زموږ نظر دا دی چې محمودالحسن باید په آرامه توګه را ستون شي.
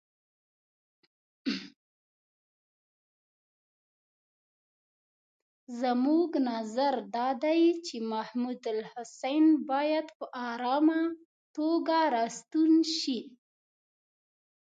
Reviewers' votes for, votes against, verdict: 1, 2, rejected